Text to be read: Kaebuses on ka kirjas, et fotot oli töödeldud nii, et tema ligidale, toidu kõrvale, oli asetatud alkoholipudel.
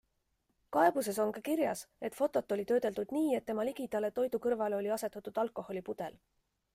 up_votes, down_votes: 3, 1